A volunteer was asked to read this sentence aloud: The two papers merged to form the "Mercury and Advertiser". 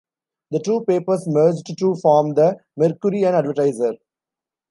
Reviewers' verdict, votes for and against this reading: rejected, 1, 2